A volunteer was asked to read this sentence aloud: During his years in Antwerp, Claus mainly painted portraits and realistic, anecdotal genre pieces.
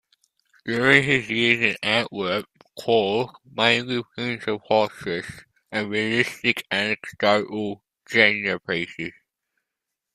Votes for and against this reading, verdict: 0, 2, rejected